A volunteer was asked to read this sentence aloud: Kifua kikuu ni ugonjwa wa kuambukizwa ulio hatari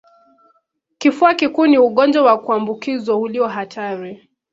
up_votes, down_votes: 0, 2